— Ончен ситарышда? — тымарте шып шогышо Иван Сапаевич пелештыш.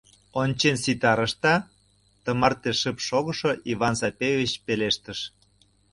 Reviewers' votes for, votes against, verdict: 1, 2, rejected